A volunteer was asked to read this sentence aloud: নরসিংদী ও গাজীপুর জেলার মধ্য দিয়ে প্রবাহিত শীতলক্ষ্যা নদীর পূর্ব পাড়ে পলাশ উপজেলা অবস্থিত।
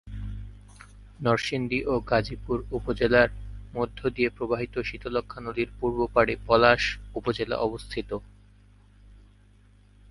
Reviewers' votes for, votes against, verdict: 2, 2, rejected